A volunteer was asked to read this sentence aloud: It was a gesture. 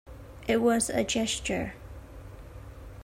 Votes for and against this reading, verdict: 2, 0, accepted